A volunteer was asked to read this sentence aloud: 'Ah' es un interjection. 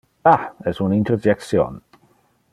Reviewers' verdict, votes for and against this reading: accepted, 2, 0